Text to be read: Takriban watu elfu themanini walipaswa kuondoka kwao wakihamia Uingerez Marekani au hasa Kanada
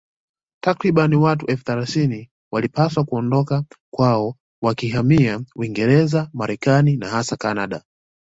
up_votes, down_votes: 0, 2